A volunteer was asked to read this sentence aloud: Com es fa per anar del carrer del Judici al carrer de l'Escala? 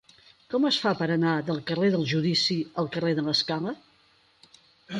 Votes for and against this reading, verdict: 8, 2, accepted